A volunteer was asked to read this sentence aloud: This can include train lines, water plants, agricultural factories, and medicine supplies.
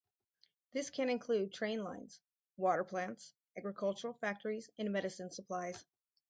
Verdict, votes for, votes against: rejected, 2, 2